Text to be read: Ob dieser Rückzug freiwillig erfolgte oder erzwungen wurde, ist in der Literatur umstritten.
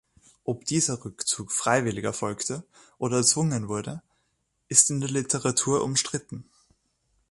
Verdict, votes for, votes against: accepted, 2, 0